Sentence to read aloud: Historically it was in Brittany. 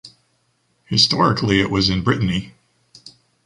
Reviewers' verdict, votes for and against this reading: accepted, 2, 0